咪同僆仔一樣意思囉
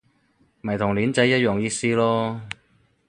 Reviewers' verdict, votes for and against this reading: rejected, 0, 4